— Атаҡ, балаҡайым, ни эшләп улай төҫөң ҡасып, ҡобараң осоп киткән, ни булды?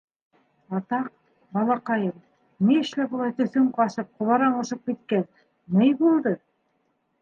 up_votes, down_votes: 2, 0